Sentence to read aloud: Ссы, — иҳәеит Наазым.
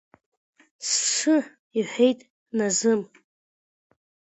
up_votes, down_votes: 2, 0